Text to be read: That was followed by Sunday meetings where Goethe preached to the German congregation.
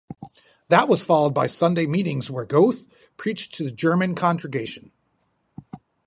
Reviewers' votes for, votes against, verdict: 0, 4, rejected